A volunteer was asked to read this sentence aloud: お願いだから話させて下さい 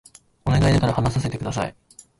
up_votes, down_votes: 1, 2